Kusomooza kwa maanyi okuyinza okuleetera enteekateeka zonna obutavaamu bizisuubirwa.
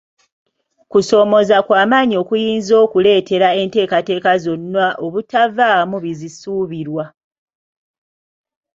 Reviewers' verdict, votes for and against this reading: rejected, 0, 2